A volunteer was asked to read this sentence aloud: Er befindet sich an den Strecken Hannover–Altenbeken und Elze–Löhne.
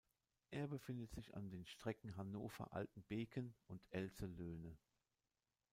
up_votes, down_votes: 0, 2